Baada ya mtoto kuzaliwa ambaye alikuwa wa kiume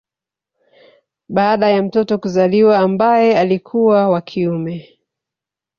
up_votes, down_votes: 2, 0